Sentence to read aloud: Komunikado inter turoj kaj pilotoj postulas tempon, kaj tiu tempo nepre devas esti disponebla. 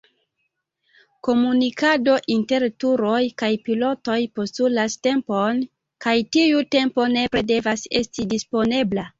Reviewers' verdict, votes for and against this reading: accepted, 2, 0